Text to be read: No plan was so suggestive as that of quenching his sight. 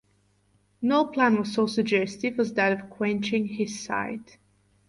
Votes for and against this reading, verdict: 4, 0, accepted